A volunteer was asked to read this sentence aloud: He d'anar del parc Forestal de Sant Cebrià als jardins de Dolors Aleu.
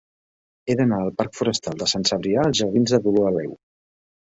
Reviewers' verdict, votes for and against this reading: rejected, 0, 2